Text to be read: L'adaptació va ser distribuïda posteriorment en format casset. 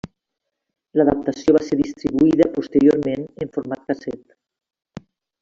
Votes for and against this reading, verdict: 3, 1, accepted